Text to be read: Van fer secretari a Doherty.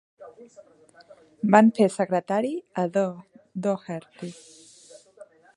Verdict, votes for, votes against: rejected, 0, 2